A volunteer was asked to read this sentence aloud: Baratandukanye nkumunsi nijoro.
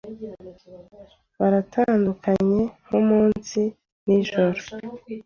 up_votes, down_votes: 2, 0